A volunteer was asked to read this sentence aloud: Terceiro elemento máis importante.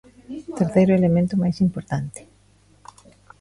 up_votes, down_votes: 1, 2